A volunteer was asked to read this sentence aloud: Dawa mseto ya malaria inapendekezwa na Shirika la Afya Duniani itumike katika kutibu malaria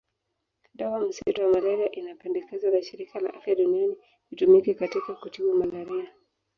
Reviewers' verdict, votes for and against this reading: rejected, 1, 2